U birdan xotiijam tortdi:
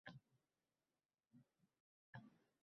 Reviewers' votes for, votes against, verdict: 0, 2, rejected